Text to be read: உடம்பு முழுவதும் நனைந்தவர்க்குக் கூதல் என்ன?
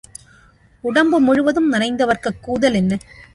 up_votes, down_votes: 2, 0